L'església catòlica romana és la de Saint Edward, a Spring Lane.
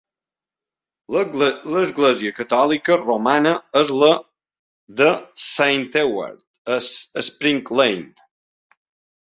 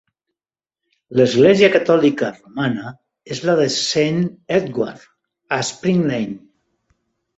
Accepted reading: second